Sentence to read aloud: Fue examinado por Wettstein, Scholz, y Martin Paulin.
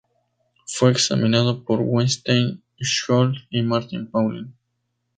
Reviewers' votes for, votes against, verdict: 0, 2, rejected